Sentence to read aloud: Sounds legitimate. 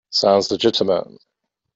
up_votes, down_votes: 2, 0